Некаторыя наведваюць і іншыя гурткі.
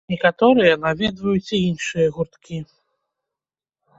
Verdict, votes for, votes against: rejected, 1, 2